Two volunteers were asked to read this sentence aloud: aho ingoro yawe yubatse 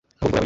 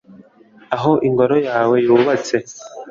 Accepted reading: second